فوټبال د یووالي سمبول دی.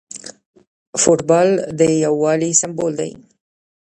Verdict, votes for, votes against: rejected, 1, 2